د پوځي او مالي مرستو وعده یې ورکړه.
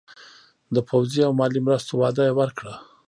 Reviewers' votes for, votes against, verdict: 0, 2, rejected